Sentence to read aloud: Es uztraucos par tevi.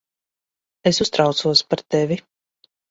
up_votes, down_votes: 2, 0